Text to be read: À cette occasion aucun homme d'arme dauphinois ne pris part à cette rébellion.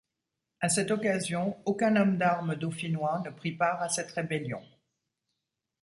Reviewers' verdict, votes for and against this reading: accepted, 2, 0